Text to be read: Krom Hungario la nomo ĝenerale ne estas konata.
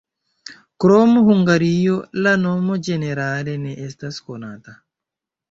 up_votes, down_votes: 1, 2